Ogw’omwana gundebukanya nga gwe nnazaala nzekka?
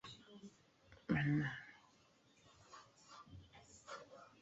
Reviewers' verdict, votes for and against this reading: rejected, 0, 3